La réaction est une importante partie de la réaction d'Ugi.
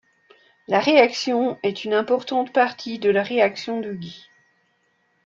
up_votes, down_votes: 0, 2